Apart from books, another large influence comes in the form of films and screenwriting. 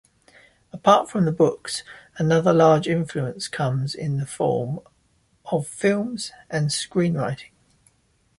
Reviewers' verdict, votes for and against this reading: rejected, 0, 2